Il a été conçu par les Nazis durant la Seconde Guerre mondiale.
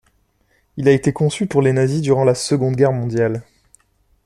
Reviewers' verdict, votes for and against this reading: rejected, 0, 2